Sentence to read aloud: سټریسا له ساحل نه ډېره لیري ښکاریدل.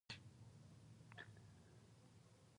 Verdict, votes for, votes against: rejected, 2, 4